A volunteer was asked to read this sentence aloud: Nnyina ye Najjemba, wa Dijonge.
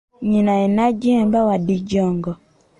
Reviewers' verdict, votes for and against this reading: accepted, 2, 0